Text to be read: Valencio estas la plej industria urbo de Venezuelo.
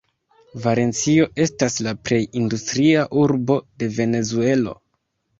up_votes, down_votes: 3, 0